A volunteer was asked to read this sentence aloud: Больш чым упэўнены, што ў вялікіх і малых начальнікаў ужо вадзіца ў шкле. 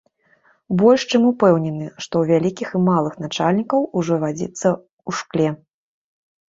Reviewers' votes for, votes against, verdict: 2, 0, accepted